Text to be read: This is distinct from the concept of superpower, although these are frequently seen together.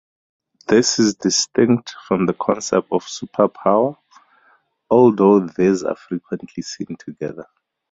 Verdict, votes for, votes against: accepted, 4, 0